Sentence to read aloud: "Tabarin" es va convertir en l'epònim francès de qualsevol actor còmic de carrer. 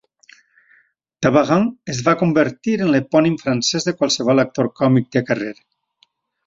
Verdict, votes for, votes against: accepted, 2, 0